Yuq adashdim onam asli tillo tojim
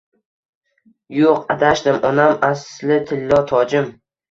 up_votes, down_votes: 2, 0